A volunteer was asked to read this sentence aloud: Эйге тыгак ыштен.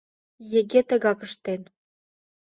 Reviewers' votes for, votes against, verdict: 0, 2, rejected